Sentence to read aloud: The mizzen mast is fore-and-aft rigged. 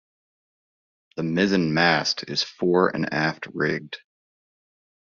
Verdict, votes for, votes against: accepted, 2, 0